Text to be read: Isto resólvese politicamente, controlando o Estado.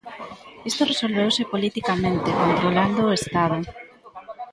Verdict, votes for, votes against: rejected, 0, 2